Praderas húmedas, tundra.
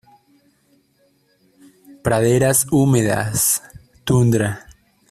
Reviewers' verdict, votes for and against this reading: accepted, 2, 0